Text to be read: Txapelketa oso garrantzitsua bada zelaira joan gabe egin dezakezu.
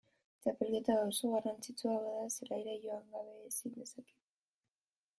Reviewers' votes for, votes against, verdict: 0, 2, rejected